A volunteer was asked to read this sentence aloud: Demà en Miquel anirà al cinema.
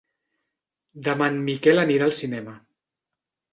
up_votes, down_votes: 3, 0